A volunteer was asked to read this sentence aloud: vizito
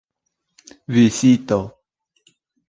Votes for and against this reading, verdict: 2, 0, accepted